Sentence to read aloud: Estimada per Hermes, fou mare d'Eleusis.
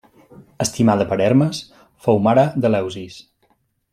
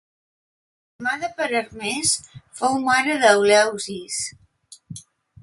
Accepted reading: first